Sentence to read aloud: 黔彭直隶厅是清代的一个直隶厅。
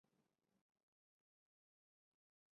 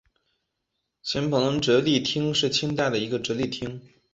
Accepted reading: second